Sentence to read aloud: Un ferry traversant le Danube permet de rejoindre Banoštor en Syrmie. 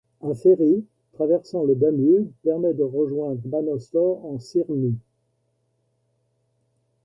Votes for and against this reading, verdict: 1, 2, rejected